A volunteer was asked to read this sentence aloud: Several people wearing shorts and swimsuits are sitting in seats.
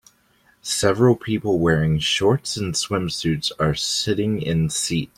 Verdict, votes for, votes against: rejected, 1, 4